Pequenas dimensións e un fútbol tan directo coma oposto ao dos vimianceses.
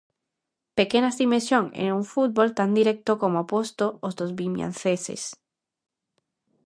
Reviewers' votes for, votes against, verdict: 0, 2, rejected